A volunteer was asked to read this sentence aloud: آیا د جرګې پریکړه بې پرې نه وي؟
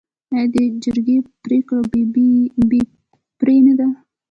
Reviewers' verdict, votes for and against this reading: rejected, 1, 2